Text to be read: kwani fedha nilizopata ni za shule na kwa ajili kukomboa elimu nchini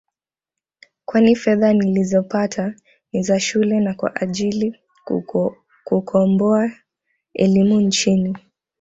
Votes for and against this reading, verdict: 0, 2, rejected